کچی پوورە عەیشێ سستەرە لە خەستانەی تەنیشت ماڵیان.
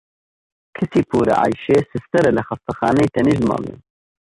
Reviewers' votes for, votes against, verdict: 2, 0, accepted